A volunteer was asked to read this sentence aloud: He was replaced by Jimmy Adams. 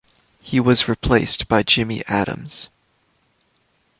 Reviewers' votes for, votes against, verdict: 2, 0, accepted